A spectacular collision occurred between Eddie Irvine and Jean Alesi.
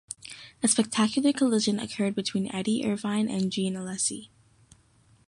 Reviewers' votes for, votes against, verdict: 2, 0, accepted